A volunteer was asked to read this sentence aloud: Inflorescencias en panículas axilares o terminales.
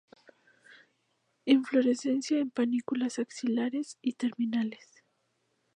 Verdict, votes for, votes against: rejected, 0, 2